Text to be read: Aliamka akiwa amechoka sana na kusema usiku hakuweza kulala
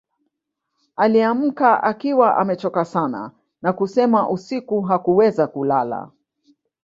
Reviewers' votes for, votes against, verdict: 2, 0, accepted